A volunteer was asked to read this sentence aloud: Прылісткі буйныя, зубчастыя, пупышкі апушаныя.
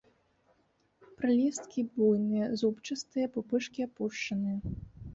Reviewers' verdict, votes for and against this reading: rejected, 0, 2